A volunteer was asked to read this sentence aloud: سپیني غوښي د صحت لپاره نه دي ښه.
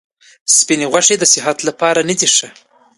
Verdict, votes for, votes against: accepted, 2, 0